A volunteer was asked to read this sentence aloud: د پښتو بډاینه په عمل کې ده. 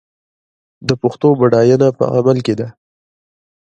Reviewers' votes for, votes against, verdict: 0, 2, rejected